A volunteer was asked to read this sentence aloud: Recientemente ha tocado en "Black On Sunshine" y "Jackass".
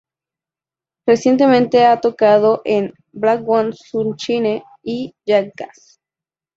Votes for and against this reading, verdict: 0, 2, rejected